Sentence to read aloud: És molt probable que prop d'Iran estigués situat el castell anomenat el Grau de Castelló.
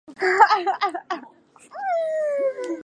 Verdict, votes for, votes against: rejected, 0, 4